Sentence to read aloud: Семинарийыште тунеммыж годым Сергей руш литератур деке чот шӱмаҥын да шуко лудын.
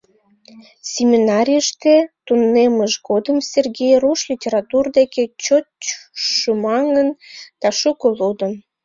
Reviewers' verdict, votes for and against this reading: rejected, 0, 2